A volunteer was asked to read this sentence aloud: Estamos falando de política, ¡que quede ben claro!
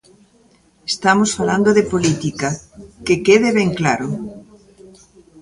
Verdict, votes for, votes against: accepted, 2, 1